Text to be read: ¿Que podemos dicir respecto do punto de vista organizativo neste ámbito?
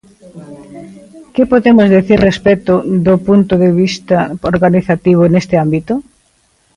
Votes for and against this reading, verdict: 2, 1, accepted